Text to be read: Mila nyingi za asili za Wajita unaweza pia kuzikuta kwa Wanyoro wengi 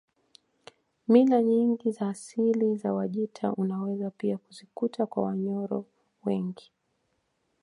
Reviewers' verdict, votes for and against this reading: accepted, 2, 0